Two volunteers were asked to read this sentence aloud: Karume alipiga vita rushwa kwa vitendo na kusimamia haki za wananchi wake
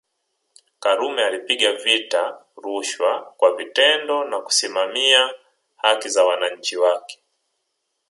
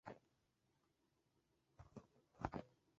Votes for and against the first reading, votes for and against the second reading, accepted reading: 2, 1, 1, 2, first